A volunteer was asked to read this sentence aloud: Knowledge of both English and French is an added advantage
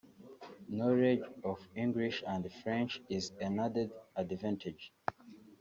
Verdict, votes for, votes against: rejected, 1, 2